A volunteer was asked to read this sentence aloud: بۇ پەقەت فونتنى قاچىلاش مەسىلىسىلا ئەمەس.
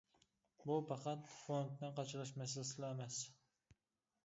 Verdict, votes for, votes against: accepted, 2, 1